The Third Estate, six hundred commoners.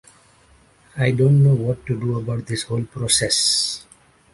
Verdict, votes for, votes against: rejected, 0, 2